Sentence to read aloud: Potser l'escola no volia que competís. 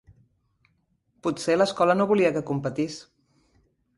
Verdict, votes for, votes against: accepted, 3, 0